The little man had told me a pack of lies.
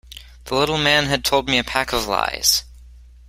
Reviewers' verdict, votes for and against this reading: accepted, 2, 0